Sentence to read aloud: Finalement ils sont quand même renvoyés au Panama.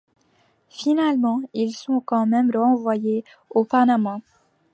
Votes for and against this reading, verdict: 2, 0, accepted